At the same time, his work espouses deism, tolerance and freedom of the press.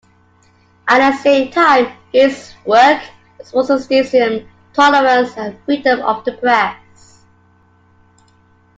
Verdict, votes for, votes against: rejected, 1, 2